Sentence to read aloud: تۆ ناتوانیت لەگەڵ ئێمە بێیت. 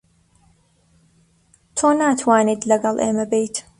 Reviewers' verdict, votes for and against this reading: accepted, 2, 0